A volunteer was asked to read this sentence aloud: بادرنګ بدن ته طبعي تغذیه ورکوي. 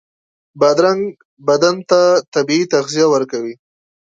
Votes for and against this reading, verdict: 2, 0, accepted